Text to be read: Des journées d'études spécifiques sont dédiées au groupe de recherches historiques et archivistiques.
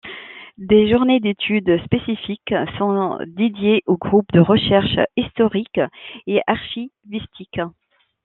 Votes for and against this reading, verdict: 1, 2, rejected